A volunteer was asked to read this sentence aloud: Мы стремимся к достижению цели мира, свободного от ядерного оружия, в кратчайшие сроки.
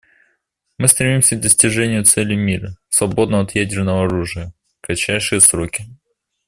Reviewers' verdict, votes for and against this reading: accepted, 2, 0